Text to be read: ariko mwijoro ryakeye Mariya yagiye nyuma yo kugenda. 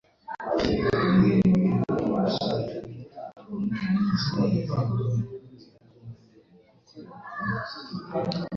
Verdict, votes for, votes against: rejected, 0, 2